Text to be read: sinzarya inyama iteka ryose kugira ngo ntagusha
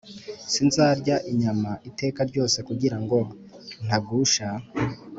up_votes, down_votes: 4, 0